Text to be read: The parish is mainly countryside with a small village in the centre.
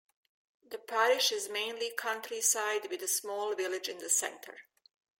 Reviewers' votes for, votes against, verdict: 2, 0, accepted